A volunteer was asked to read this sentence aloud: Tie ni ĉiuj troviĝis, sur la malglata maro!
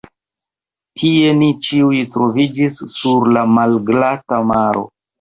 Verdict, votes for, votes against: rejected, 0, 2